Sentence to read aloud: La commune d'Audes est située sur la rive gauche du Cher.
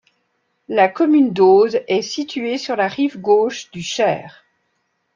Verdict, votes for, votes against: accepted, 2, 0